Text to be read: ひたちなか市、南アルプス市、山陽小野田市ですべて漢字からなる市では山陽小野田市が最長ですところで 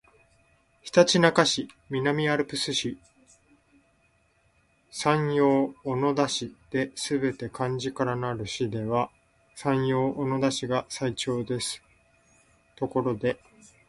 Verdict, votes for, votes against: accepted, 2, 0